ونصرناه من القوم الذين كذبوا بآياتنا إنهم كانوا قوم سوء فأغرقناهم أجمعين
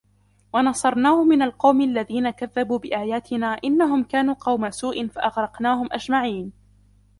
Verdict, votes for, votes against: accepted, 2, 1